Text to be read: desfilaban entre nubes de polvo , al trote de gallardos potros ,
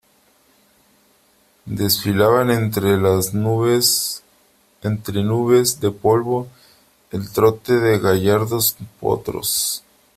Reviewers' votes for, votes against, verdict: 0, 2, rejected